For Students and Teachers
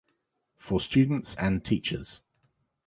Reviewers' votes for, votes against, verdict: 2, 0, accepted